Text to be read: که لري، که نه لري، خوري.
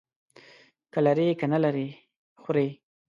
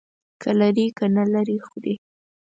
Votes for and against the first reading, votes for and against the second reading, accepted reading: 1, 2, 4, 0, second